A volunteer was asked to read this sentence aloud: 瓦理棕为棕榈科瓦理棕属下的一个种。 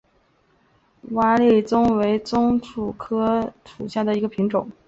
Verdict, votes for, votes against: accepted, 3, 0